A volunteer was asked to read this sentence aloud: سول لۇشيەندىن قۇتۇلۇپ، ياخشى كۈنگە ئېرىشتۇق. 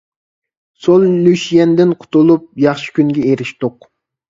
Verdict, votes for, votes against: accepted, 2, 1